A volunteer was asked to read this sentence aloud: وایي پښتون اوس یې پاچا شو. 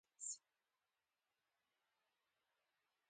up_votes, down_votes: 1, 2